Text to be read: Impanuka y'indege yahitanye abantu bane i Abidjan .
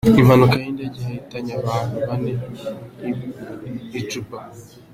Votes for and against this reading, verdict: 1, 3, rejected